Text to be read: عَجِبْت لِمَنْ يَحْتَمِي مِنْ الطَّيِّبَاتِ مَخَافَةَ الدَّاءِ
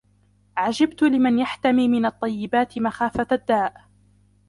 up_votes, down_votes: 0, 2